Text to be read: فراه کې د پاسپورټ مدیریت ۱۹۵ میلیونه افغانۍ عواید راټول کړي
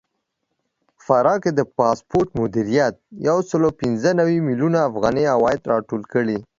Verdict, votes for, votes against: rejected, 0, 2